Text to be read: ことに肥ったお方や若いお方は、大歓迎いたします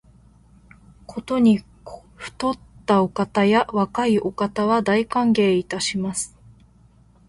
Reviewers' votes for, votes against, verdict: 0, 2, rejected